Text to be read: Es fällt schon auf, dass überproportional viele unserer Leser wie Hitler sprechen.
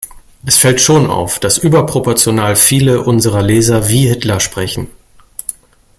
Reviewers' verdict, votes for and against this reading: accepted, 2, 0